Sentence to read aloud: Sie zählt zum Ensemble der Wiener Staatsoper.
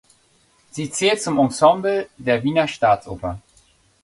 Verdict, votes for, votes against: accepted, 2, 0